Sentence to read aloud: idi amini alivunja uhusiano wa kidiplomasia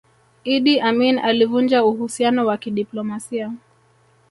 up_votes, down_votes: 2, 0